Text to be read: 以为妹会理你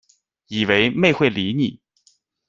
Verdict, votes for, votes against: accepted, 2, 0